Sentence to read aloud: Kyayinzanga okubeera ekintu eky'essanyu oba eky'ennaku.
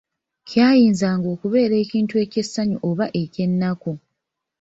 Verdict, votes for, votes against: rejected, 0, 2